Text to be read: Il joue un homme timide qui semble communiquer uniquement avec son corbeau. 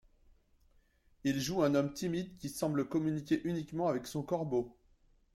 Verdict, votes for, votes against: accepted, 2, 0